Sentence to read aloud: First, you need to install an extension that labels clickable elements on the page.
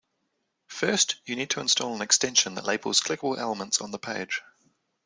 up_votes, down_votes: 2, 0